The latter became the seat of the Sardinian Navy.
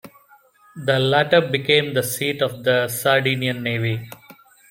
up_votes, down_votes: 2, 0